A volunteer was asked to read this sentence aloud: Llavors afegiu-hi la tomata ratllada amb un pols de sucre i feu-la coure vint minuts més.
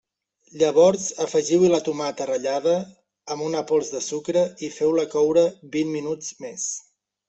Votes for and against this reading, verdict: 0, 2, rejected